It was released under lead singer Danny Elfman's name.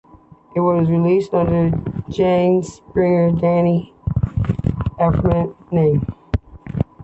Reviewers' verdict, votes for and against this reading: rejected, 1, 2